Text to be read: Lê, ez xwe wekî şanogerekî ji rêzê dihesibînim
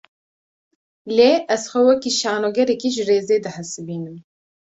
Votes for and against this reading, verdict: 2, 0, accepted